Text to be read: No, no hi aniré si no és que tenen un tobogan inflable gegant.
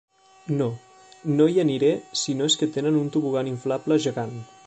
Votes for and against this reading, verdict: 2, 0, accepted